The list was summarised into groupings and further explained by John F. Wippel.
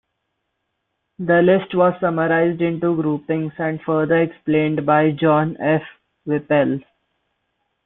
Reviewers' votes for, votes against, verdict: 0, 2, rejected